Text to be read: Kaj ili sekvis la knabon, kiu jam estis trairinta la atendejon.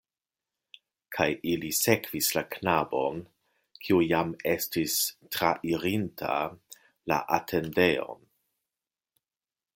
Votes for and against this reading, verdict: 2, 1, accepted